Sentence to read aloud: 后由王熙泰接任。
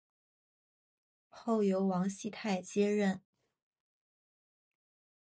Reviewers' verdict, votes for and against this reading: accepted, 6, 0